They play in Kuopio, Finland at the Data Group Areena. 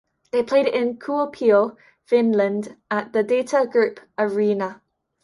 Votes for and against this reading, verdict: 2, 0, accepted